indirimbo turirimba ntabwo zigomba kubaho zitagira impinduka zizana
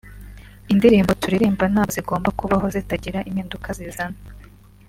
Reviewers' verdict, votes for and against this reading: accepted, 2, 0